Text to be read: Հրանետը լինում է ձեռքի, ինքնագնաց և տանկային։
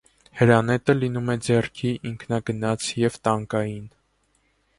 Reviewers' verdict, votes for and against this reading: accepted, 2, 0